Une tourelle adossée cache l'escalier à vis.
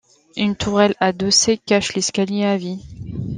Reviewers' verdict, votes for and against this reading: rejected, 1, 2